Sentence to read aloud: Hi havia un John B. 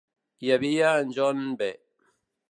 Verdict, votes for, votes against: rejected, 1, 2